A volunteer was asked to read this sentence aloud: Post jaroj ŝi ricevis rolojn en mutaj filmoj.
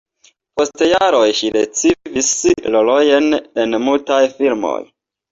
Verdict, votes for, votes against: accepted, 2, 0